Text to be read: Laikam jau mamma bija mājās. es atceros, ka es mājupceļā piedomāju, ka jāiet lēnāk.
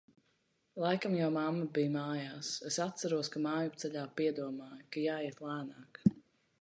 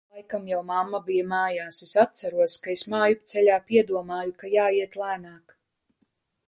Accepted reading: second